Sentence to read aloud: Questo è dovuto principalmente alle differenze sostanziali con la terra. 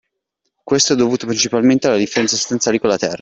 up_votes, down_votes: 2, 1